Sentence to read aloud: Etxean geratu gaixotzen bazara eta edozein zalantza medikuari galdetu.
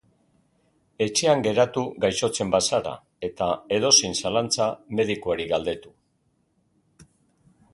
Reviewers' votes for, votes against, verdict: 2, 0, accepted